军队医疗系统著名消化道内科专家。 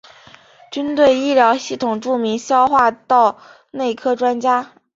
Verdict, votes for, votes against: accepted, 2, 0